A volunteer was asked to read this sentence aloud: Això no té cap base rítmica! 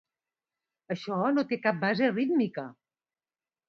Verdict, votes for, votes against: accepted, 2, 0